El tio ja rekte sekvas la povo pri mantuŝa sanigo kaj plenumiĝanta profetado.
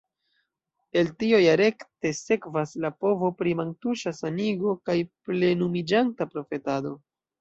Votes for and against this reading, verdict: 0, 2, rejected